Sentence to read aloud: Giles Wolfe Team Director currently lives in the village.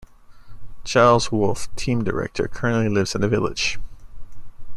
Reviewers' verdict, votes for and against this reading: accepted, 2, 0